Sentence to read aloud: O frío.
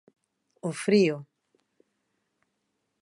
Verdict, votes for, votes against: accepted, 2, 0